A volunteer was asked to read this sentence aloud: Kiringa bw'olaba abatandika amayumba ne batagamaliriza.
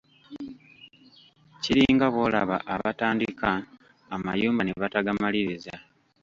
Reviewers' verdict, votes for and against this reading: rejected, 1, 2